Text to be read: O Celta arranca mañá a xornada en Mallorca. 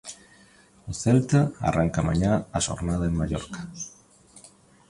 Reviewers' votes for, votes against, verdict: 1, 2, rejected